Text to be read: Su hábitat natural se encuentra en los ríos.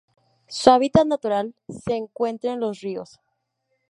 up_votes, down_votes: 2, 0